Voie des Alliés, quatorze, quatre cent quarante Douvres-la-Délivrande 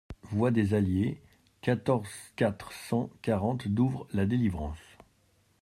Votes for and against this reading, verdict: 0, 2, rejected